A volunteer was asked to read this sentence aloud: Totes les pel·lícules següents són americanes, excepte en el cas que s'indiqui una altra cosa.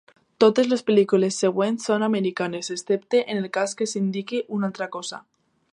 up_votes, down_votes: 2, 0